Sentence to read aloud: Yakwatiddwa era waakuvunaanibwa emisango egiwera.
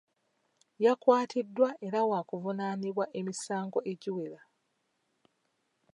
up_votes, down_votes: 2, 0